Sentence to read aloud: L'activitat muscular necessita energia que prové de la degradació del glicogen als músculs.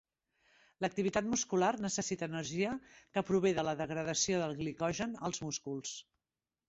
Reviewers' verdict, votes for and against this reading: accepted, 4, 0